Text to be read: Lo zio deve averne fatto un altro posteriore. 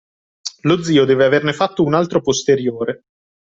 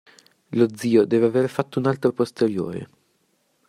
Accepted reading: first